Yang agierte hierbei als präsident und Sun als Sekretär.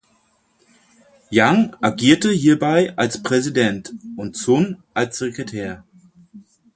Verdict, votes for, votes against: accepted, 4, 0